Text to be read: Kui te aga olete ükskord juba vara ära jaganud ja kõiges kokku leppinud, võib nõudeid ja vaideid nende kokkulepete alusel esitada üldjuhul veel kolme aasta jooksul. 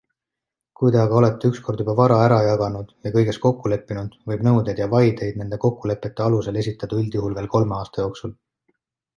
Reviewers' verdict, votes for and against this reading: accepted, 2, 0